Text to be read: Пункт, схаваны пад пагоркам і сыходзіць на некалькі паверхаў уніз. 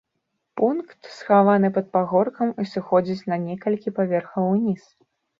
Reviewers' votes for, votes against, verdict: 2, 1, accepted